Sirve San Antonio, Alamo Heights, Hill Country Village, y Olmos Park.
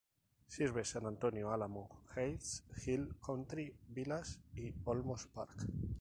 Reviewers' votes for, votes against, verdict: 0, 2, rejected